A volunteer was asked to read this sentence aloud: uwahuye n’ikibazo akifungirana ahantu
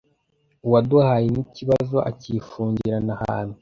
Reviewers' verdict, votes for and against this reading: rejected, 0, 2